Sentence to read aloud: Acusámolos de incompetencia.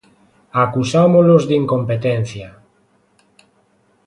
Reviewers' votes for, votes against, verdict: 2, 0, accepted